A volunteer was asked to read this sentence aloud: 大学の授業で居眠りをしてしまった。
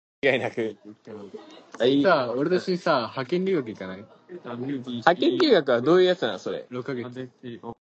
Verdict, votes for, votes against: rejected, 0, 3